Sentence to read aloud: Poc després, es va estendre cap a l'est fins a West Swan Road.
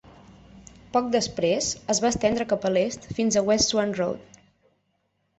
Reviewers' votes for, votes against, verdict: 9, 0, accepted